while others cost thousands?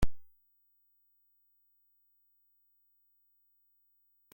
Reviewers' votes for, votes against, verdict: 0, 2, rejected